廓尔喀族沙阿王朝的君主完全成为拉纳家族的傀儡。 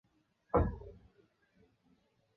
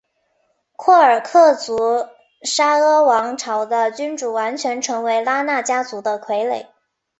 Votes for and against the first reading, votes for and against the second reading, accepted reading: 0, 2, 6, 0, second